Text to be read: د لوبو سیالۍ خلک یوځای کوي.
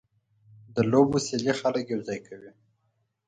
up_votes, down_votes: 4, 0